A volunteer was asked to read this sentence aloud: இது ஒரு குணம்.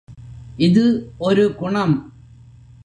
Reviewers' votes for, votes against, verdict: 2, 0, accepted